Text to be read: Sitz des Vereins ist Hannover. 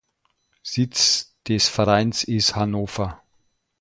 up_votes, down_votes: 1, 2